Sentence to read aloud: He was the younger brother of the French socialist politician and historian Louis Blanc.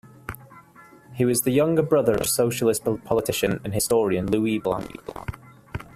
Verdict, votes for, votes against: rejected, 1, 2